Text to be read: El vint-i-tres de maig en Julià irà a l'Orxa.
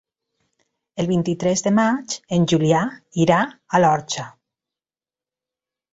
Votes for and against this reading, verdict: 3, 0, accepted